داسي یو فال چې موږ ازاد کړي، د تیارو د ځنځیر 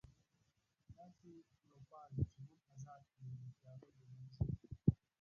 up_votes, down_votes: 0, 2